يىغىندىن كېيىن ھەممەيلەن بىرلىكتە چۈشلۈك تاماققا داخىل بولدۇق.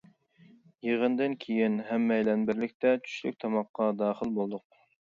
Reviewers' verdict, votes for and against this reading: accepted, 2, 0